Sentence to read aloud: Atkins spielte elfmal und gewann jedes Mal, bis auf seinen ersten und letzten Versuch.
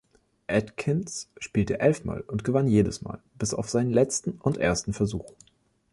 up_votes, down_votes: 0, 3